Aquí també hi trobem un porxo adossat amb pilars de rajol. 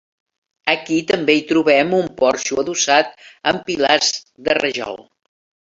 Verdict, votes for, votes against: accepted, 3, 1